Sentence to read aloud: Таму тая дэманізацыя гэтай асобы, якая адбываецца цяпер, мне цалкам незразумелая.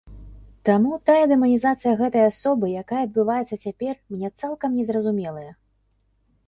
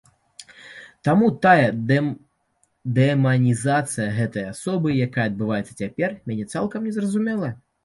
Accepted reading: first